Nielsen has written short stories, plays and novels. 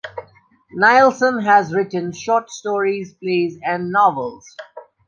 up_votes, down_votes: 3, 0